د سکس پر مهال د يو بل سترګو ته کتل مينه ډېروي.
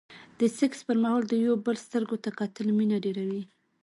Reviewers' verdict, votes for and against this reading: rejected, 0, 2